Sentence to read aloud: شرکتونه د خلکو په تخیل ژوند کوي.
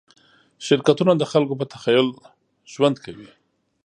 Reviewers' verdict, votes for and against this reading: accepted, 2, 0